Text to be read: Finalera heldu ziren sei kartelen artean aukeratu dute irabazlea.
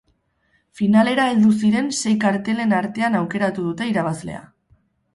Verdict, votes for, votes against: accepted, 4, 0